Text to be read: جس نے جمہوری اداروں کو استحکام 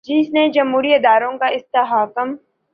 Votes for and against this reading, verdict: 1, 2, rejected